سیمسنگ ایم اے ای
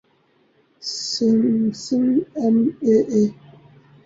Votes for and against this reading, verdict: 0, 2, rejected